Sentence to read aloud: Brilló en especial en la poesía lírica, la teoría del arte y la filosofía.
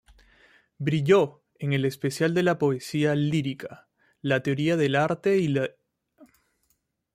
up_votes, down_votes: 0, 2